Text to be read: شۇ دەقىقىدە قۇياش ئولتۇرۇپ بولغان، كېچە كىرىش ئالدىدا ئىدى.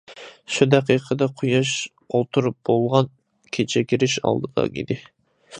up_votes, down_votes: 2, 1